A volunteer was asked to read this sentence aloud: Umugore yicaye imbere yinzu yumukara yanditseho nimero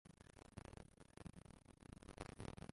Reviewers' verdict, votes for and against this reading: rejected, 0, 2